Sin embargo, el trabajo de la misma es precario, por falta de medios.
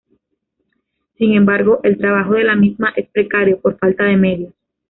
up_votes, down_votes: 2, 0